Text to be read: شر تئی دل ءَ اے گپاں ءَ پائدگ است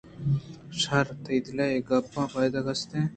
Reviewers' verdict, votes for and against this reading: accepted, 2, 1